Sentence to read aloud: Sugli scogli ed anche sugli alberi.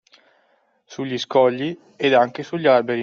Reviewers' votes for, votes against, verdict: 2, 0, accepted